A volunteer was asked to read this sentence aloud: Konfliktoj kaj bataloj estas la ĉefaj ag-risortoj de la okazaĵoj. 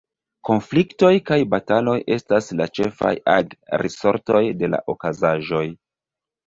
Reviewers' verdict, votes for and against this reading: accepted, 2, 1